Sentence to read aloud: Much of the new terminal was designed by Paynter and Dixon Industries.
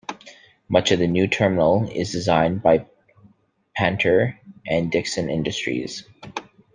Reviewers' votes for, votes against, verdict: 1, 2, rejected